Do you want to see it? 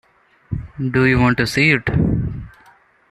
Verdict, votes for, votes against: accepted, 2, 0